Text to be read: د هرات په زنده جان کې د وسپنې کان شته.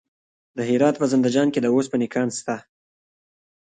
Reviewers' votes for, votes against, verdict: 0, 2, rejected